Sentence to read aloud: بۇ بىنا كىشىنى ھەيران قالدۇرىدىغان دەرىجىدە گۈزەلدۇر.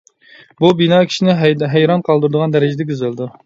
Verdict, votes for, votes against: rejected, 0, 2